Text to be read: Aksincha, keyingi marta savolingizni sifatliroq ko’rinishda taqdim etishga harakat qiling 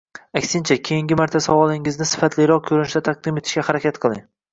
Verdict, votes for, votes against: accepted, 2, 0